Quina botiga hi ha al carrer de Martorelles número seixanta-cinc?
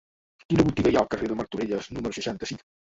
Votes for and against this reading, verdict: 2, 0, accepted